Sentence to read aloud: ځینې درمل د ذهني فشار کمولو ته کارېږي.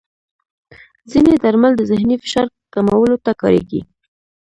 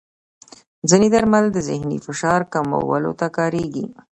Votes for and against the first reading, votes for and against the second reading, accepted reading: 1, 2, 2, 0, second